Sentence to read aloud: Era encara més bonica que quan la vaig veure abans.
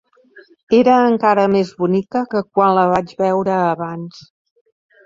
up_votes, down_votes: 6, 1